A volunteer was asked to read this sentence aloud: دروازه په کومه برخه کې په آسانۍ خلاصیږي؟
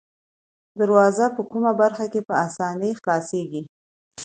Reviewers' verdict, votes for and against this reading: accepted, 2, 0